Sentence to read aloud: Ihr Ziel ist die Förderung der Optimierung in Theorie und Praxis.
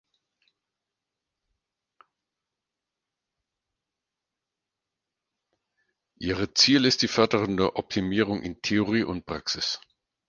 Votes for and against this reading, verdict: 2, 4, rejected